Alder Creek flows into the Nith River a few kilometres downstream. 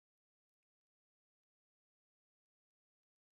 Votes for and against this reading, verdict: 0, 2, rejected